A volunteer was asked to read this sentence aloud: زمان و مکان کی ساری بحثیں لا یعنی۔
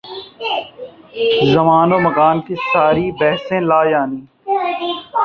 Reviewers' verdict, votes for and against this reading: rejected, 1, 2